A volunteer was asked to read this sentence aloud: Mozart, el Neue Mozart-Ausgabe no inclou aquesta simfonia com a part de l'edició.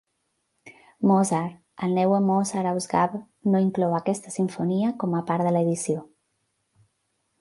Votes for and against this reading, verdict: 2, 1, accepted